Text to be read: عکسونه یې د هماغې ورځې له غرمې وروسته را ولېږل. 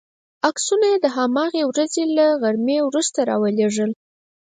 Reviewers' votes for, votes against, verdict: 4, 0, accepted